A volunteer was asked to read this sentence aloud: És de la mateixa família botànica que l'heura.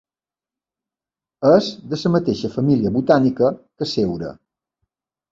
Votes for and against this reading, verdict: 0, 2, rejected